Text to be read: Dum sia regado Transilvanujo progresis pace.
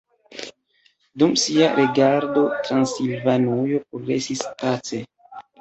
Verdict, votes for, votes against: rejected, 0, 2